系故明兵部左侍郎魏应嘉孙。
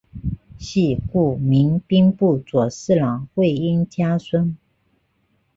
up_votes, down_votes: 2, 0